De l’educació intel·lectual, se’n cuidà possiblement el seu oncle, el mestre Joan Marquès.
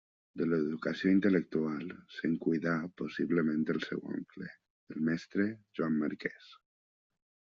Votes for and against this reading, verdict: 3, 0, accepted